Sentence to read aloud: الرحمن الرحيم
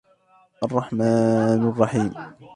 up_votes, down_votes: 2, 0